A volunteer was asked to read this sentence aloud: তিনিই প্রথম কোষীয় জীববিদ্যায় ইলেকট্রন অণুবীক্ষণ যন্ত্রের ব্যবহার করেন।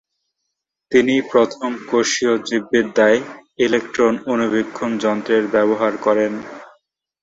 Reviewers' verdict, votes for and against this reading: accepted, 2, 0